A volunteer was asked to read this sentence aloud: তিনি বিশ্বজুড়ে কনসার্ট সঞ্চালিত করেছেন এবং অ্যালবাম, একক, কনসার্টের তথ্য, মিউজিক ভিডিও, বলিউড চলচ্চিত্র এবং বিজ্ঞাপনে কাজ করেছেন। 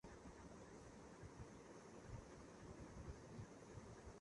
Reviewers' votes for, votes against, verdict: 0, 10, rejected